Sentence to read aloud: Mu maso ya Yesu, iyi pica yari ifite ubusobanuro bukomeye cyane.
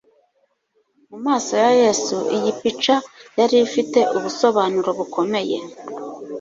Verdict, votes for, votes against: rejected, 1, 2